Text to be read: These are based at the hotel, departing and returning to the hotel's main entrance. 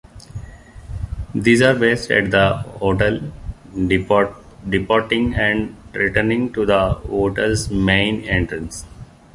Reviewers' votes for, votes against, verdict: 2, 0, accepted